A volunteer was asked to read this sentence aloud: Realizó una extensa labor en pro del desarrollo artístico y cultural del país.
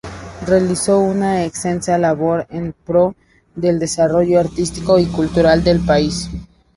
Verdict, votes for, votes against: accepted, 2, 0